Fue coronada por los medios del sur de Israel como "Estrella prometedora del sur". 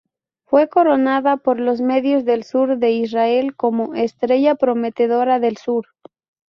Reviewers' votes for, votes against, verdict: 2, 2, rejected